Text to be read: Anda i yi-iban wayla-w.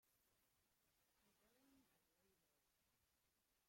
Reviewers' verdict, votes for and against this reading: rejected, 0, 2